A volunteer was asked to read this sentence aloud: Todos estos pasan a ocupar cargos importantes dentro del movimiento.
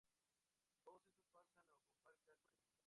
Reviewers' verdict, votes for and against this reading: rejected, 0, 4